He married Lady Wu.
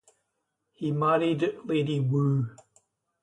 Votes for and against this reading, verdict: 2, 0, accepted